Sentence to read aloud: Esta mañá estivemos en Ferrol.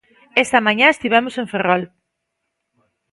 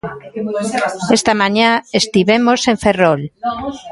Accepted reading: first